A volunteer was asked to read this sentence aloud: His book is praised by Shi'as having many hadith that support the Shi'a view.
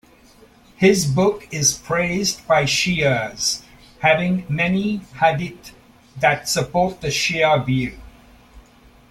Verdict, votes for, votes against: accepted, 2, 0